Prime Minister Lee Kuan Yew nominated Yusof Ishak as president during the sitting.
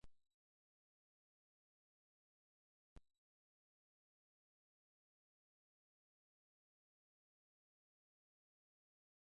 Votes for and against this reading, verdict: 0, 2, rejected